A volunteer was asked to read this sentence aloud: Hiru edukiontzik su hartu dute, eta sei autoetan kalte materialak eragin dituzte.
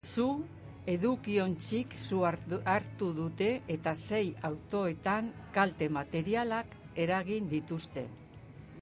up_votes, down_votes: 0, 2